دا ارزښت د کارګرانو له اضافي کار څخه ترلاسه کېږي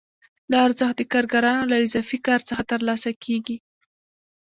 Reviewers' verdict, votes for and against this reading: rejected, 0, 2